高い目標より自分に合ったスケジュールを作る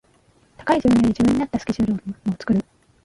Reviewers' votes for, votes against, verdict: 0, 2, rejected